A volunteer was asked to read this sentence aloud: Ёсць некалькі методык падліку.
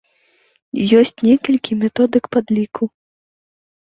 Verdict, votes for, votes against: accepted, 2, 0